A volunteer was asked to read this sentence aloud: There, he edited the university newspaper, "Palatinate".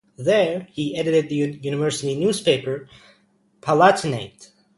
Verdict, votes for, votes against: rejected, 0, 2